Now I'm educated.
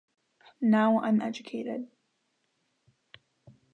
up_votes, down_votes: 2, 0